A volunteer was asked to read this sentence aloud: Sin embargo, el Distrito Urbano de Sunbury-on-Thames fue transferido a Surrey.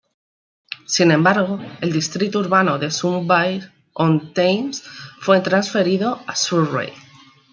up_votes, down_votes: 1, 2